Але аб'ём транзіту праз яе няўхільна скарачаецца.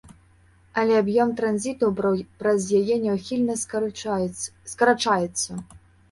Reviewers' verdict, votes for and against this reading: rejected, 1, 2